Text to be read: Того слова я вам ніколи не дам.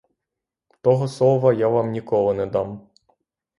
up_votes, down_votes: 6, 0